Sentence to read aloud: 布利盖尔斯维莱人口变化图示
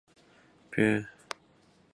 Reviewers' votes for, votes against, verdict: 0, 3, rejected